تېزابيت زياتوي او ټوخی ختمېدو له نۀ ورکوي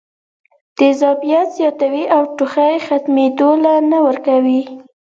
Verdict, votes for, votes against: accepted, 2, 0